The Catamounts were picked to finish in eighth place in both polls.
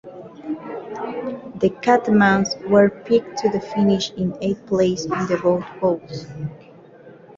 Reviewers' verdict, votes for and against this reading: rejected, 0, 2